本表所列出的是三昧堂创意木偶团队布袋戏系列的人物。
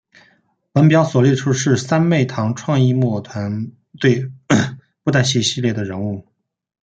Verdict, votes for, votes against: rejected, 1, 2